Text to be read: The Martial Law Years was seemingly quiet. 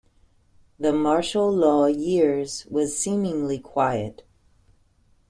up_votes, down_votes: 2, 0